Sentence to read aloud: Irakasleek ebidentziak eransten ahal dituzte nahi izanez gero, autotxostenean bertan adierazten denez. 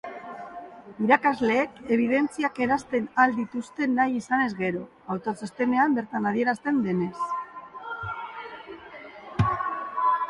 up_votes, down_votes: 2, 0